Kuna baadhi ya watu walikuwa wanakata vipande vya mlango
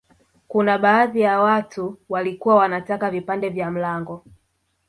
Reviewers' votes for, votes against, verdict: 2, 0, accepted